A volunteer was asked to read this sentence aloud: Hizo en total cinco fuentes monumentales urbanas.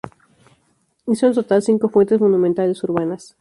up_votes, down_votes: 2, 0